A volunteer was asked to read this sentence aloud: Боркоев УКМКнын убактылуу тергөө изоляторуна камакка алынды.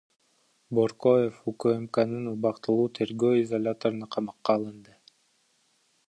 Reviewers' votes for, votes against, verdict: 0, 2, rejected